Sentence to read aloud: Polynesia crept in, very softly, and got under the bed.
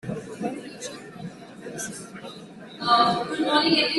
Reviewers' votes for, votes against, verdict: 0, 2, rejected